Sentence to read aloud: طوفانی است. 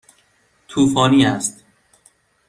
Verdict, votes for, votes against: accepted, 2, 0